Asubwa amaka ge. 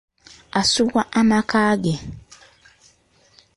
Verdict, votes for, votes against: accepted, 2, 1